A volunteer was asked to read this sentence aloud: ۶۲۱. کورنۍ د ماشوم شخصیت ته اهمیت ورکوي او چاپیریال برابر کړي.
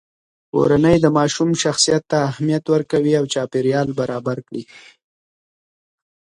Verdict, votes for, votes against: rejected, 0, 2